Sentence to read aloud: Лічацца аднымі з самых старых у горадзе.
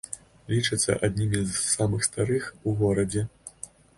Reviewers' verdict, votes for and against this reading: accepted, 3, 1